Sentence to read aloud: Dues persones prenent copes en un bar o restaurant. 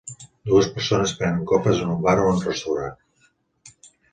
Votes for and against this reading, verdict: 0, 2, rejected